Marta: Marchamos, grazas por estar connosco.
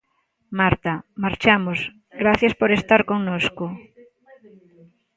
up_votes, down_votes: 2, 1